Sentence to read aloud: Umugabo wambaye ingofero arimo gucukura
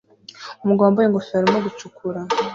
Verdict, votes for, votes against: accepted, 2, 1